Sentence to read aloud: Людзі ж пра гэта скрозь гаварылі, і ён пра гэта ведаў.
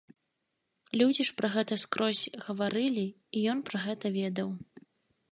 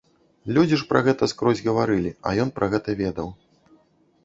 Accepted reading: first